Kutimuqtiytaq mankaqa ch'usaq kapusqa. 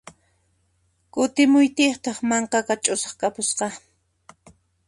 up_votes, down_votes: 0, 2